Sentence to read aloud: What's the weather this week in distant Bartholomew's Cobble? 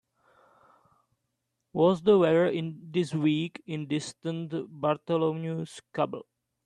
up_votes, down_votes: 1, 2